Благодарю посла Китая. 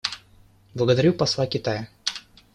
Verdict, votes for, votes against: accepted, 2, 0